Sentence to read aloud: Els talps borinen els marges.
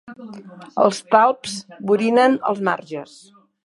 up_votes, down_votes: 2, 0